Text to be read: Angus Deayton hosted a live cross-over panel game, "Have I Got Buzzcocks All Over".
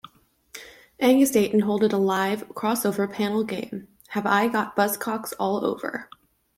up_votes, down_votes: 1, 2